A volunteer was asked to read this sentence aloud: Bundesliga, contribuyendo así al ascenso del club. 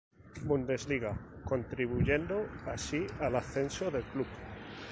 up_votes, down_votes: 2, 0